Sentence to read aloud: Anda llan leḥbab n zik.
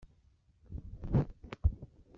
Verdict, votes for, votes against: rejected, 1, 2